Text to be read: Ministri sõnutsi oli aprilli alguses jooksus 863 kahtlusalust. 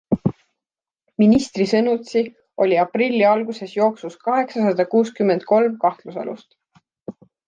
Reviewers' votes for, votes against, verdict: 0, 2, rejected